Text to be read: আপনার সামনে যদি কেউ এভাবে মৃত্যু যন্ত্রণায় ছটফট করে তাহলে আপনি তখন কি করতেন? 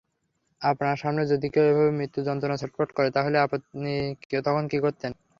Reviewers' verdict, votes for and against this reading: accepted, 3, 0